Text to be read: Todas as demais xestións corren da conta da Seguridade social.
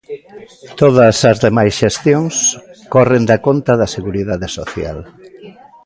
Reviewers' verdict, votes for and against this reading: rejected, 1, 2